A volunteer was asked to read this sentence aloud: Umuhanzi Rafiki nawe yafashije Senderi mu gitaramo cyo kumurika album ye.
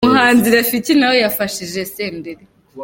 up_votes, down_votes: 1, 2